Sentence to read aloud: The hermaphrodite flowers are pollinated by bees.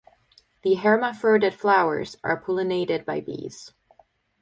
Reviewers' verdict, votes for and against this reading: rejected, 2, 2